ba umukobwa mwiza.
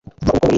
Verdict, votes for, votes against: rejected, 0, 2